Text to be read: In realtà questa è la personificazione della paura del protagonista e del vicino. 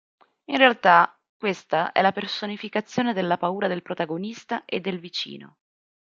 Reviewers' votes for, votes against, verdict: 4, 0, accepted